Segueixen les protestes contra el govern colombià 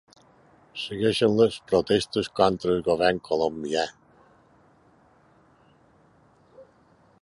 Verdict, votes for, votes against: accepted, 2, 0